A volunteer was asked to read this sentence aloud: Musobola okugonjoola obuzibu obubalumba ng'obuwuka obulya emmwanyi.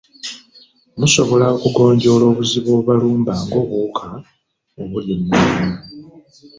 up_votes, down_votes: 0, 2